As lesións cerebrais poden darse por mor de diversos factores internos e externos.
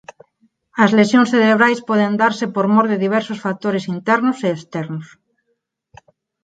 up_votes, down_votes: 2, 4